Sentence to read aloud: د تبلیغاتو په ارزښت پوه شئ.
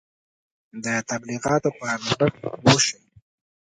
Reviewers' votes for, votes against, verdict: 2, 1, accepted